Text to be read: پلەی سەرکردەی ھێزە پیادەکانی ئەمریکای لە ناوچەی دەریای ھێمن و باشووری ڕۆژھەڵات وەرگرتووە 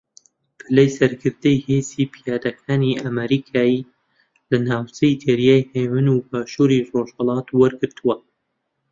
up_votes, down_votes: 0, 2